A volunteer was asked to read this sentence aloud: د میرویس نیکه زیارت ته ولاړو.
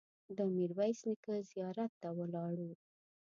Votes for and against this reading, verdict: 2, 0, accepted